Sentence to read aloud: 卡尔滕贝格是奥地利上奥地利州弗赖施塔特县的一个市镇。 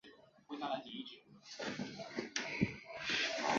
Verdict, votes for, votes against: rejected, 2, 6